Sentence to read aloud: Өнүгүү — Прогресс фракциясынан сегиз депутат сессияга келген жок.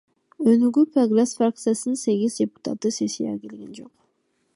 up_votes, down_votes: 2, 0